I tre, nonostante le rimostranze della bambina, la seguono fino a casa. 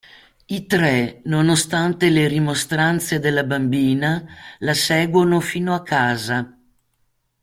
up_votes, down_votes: 2, 0